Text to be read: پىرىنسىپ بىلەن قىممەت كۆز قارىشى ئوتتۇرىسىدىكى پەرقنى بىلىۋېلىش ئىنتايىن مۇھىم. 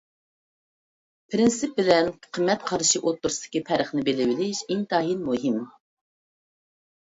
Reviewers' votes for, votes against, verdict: 0, 2, rejected